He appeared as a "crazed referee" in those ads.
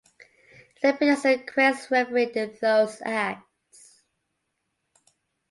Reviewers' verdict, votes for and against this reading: rejected, 0, 2